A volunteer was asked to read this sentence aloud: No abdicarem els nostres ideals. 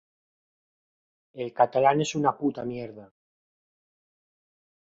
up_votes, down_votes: 0, 2